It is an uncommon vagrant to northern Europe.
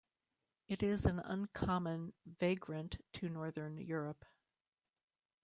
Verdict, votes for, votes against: accepted, 2, 1